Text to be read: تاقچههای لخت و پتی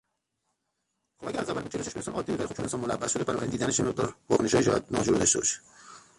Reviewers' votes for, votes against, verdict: 0, 3, rejected